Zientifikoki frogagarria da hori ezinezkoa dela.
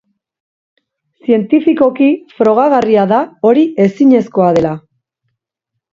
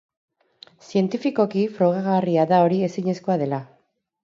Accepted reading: first